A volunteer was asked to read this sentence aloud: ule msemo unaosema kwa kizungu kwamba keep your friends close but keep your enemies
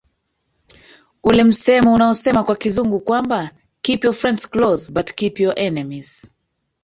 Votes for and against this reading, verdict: 1, 2, rejected